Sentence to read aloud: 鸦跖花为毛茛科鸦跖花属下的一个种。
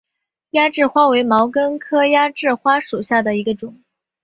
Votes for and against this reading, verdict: 1, 4, rejected